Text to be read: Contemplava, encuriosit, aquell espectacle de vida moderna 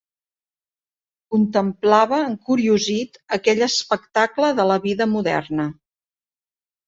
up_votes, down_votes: 0, 2